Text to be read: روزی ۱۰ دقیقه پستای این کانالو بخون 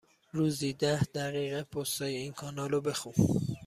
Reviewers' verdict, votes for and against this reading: rejected, 0, 2